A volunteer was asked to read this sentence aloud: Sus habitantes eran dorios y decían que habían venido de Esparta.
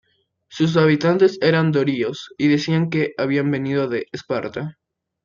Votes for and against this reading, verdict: 2, 0, accepted